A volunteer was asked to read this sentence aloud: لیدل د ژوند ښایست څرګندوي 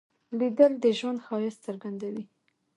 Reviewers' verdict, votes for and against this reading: rejected, 0, 2